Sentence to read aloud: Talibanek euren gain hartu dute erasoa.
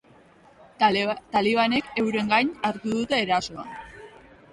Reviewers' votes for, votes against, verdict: 1, 3, rejected